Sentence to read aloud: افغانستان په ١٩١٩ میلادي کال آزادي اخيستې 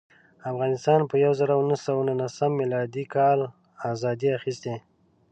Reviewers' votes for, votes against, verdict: 0, 2, rejected